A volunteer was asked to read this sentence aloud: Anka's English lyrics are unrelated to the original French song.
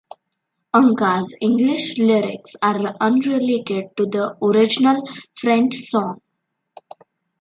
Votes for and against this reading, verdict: 2, 1, accepted